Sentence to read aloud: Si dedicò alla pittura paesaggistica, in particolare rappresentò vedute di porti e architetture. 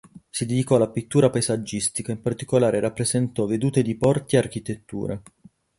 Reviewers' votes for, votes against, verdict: 4, 4, rejected